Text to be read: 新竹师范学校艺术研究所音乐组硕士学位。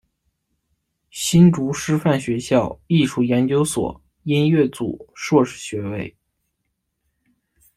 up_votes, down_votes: 2, 0